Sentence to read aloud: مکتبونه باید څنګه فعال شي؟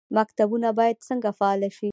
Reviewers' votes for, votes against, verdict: 2, 0, accepted